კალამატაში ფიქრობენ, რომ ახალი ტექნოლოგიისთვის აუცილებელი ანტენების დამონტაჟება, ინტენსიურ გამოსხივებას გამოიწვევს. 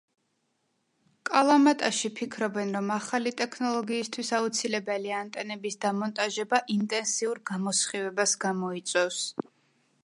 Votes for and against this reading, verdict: 2, 0, accepted